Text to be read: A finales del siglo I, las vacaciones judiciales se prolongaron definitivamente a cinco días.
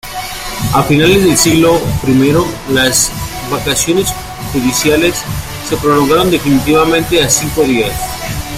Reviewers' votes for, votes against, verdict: 2, 0, accepted